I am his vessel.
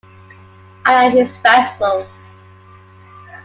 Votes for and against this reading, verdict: 2, 1, accepted